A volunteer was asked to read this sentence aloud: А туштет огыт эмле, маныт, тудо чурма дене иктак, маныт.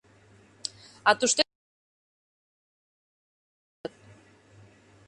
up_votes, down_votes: 0, 2